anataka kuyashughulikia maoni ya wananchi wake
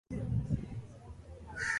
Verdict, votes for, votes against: rejected, 0, 3